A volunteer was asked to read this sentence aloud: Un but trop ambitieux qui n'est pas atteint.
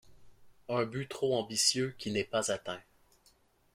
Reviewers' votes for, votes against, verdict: 2, 0, accepted